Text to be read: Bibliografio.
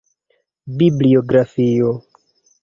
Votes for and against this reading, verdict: 2, 0, accepted